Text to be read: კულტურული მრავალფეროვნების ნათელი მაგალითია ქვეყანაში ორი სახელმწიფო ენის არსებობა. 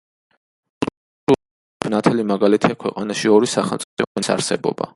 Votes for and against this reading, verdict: 0, 2, rejected